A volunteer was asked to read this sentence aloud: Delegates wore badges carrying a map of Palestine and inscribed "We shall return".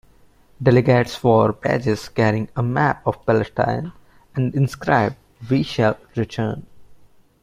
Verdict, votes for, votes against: accepted, 2, 0